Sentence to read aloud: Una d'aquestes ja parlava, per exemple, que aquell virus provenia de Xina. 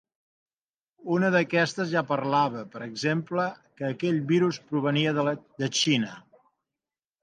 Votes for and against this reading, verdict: 2, 1, accepted